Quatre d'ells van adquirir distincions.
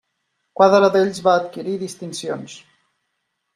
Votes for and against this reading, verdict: 0, 2, rejected